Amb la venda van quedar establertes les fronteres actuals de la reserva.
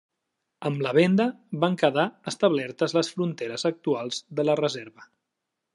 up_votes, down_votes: 3, 0